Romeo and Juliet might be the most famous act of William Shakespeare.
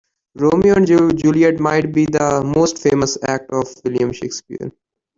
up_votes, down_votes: 1, 2